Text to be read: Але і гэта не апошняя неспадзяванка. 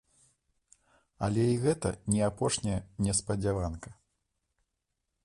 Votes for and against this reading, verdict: 2, 0, accepted